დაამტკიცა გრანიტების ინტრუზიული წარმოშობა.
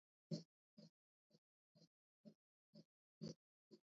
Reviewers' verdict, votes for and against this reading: rejected, 1, 2